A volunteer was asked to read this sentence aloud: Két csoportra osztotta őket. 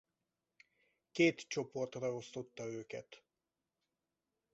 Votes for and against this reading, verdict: 2, 2, rejected